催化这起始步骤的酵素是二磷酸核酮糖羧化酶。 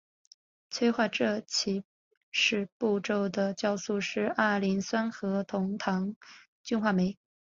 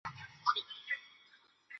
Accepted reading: first